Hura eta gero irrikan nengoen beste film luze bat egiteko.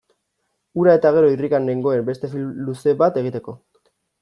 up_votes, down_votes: 2, 0